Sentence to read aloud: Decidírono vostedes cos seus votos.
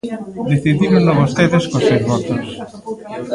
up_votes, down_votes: 0, 2